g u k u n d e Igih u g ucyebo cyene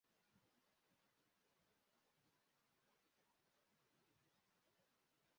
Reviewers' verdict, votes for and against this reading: rejected, 0, 2